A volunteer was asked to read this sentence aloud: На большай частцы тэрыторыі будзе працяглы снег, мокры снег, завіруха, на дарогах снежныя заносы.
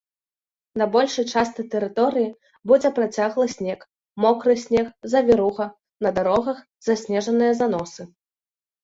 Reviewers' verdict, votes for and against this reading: rejected, 0, 2